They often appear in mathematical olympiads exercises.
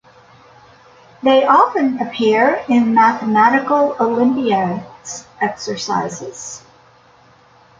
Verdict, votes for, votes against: accepted, 2, 1